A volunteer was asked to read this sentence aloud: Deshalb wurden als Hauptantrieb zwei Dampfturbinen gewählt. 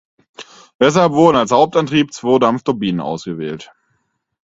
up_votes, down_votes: 0, 4